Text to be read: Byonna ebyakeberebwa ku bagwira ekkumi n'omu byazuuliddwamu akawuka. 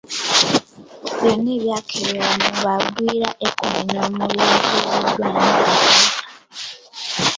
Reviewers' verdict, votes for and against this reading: rejected, 0, 2